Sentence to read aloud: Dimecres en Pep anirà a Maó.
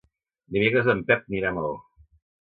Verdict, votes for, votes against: accepted, 2, 1